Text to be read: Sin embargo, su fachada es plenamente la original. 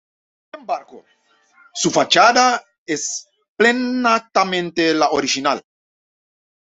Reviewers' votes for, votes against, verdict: 0, 2, rejected